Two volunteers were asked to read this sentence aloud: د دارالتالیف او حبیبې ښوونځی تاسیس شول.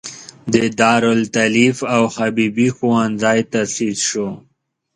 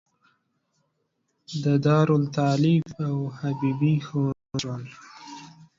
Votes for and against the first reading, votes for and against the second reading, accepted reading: 2, 1, 0, 2, first